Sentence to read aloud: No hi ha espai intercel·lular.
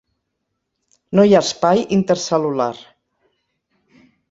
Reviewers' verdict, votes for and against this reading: accepted, 6, 0